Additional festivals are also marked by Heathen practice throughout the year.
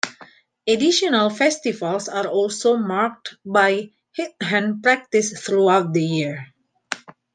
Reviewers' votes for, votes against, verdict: 1, 2, rejected